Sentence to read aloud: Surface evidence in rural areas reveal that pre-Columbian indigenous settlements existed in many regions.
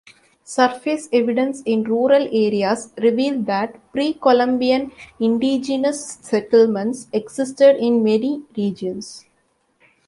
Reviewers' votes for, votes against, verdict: 2, 1, accepted